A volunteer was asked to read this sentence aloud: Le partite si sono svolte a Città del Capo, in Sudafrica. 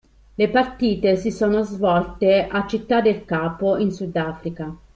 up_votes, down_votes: 2, 1